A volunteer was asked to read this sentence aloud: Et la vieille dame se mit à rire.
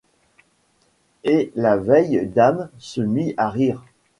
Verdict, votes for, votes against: rejected, 1, 2